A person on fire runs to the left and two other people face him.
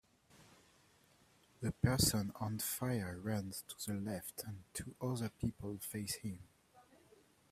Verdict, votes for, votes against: accepted, 2, 1